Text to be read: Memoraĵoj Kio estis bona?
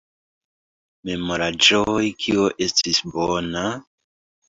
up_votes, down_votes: 0, 2